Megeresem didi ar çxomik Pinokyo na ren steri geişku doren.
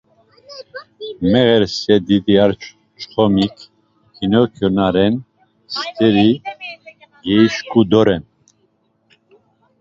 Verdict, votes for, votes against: rejected, 0, 2